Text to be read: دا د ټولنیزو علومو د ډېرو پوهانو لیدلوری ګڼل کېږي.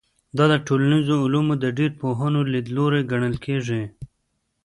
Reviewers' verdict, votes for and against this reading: accepted, 2, 0